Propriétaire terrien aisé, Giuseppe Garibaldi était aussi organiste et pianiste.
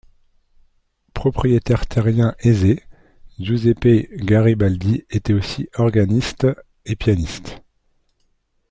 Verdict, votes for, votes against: accepted, 2, 0